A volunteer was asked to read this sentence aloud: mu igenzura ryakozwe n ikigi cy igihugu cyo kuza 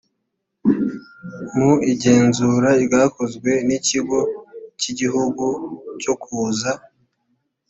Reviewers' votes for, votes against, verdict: 1, 2, rejected